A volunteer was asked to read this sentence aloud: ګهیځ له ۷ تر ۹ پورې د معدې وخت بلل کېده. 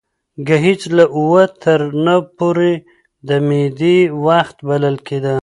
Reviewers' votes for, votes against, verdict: 0, 2, rejected